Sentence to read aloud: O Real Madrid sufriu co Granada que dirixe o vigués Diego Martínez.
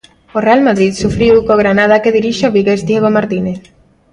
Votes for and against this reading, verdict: 3, 0, accepted